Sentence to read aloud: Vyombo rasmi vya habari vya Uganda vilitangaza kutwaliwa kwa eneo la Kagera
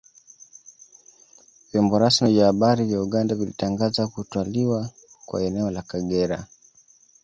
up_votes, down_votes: 2, 0